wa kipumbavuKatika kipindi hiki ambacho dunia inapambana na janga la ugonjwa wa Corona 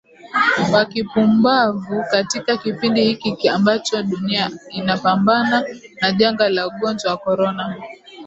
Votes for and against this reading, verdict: 0, 2, rejected